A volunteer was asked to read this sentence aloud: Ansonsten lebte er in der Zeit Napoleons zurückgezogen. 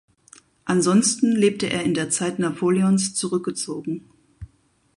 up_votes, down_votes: 4, 0